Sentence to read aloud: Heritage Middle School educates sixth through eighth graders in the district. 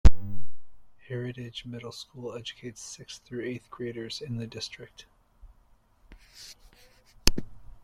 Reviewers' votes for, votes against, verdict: 1, 2, rejected